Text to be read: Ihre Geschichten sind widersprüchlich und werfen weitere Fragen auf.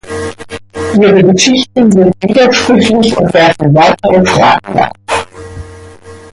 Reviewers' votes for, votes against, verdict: 0, 2, rejected